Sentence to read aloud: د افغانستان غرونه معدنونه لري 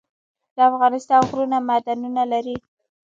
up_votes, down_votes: 2, 0